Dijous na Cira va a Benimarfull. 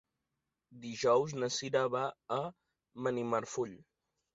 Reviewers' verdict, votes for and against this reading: accepted, 3, 0